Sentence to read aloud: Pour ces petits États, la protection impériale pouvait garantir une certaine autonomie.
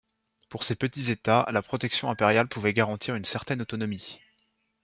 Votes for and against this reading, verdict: 2, 0, accepted